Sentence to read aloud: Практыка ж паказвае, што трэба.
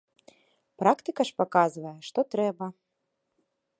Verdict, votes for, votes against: accepted, 2, 0